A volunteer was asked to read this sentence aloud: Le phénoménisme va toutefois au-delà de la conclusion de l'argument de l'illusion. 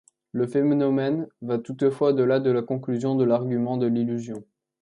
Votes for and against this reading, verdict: 0, 2, rejected